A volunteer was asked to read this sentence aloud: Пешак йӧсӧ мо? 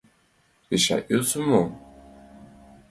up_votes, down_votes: 2, 0